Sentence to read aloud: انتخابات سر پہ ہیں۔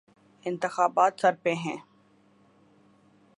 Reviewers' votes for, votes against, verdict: 2, 0, accepted